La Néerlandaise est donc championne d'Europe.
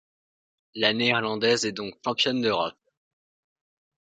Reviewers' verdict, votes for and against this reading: rejected, 1, 2